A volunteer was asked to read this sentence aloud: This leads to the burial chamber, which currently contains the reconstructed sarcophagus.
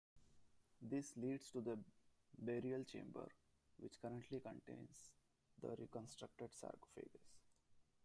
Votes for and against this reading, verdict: 1, 2, rejected